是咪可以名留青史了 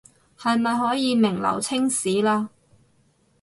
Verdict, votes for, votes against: rejected, 0, 2